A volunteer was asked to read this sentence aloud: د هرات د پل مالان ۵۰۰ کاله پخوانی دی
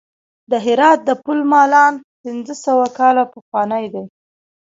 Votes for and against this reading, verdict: 0, 2, rejected